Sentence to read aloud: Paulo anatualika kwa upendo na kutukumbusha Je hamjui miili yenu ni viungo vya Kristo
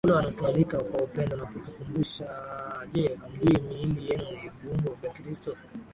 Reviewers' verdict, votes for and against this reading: rejected, 6, 8